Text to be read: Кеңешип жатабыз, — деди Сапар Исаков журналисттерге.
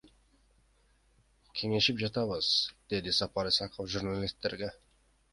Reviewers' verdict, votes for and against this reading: rejected, 1, 2